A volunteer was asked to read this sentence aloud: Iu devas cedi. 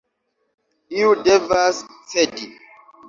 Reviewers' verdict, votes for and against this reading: accepted, 2, 0